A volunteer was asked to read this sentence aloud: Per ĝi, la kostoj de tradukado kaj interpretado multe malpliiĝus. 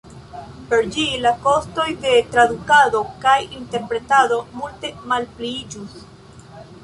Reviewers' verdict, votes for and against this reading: accepted, 2, 1